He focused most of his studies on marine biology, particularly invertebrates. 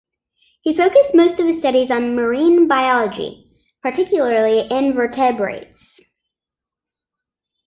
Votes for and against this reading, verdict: 1, 2, rejected